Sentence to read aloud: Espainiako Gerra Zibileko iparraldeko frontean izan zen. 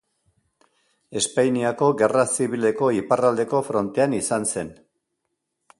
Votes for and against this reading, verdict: 2, 0, accepted